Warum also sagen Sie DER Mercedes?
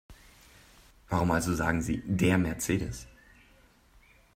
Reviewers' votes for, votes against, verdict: 3, 0, accepted